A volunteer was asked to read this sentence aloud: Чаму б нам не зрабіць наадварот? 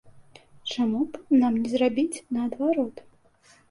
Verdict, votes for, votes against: accepted, 2, 0